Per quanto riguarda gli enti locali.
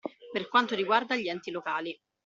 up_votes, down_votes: 2, 0